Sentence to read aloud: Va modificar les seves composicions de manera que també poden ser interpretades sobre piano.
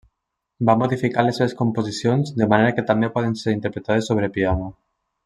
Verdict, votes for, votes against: accepted, 3, 0